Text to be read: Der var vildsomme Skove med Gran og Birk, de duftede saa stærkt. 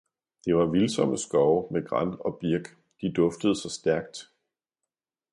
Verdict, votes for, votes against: rejected, 1, 2